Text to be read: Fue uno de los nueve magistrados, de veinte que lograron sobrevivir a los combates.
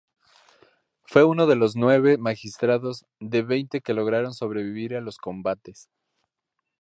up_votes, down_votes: 2, 0